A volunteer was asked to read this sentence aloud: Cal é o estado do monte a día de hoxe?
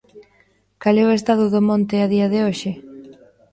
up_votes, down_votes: 2, 0